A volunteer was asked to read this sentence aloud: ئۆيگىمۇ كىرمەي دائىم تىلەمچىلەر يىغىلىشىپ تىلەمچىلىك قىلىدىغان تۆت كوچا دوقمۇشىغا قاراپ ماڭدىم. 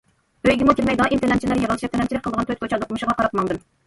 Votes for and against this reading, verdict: 1, 2, rejected